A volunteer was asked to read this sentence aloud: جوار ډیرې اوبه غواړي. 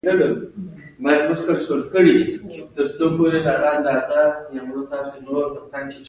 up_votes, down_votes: 2, 1